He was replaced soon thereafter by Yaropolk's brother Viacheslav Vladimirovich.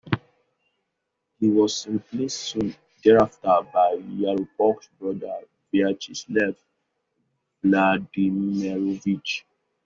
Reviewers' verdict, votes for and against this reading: rejected, 1, 2